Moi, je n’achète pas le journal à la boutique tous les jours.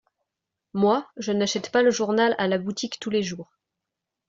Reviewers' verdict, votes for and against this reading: accepted, 2, 0